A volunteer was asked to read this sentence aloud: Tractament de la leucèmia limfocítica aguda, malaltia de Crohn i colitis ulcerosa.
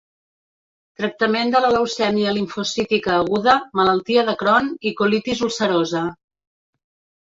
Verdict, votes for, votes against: accepted, 2, 1